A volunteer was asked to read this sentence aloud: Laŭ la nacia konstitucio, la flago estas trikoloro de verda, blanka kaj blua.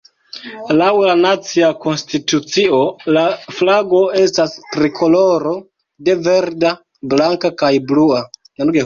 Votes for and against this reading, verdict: 0, 2, rejected